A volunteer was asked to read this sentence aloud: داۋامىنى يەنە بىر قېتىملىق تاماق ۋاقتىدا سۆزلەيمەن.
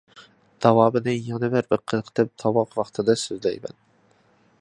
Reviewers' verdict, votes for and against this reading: rejected, 0, 2